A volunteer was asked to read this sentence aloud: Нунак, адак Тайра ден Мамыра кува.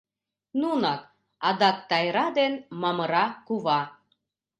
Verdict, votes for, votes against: accepted, 2, 0